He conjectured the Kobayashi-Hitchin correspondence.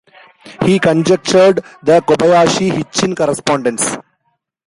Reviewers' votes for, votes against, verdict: 1, 2, rejected